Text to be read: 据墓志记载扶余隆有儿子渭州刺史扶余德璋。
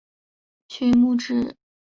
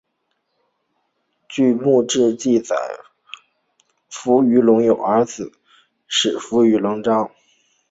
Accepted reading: first